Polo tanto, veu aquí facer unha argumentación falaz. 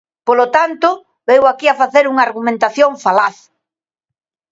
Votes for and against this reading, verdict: 0, 2, rejected